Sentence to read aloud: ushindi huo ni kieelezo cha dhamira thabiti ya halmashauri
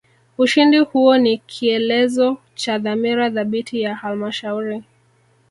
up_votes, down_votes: 0, 2